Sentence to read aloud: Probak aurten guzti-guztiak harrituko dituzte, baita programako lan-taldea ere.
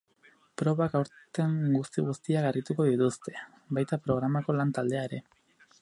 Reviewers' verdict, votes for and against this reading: accepted, 2, 0